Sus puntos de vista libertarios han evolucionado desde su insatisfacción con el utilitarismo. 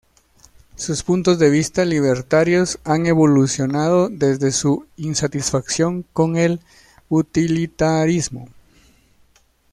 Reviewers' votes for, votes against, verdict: 1, 2, rejected